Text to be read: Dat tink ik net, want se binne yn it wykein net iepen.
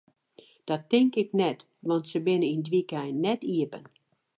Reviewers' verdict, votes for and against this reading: rejected, 2, 2